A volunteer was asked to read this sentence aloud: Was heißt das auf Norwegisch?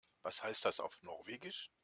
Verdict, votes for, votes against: accepted, 2, 0